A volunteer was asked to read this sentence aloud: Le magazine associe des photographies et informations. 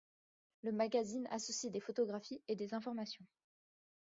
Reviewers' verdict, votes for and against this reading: accepted, 2, 0